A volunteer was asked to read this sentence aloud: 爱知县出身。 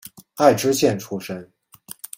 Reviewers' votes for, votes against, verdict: 2, 0, accepted